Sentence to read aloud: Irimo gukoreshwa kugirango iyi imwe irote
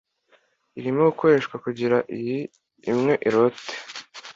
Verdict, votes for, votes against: accepted, 2, 0